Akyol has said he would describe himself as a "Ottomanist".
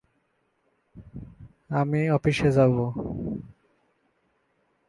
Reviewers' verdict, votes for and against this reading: rejected, 0, 2